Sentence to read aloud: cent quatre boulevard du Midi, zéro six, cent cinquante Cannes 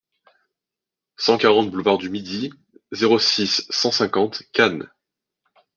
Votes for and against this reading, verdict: 0, 2, rejected